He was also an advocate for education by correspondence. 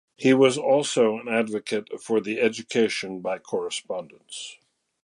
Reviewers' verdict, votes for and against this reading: rejected, 0, 2